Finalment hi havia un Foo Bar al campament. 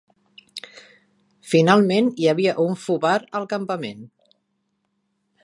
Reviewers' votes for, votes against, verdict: 2, 0, accepted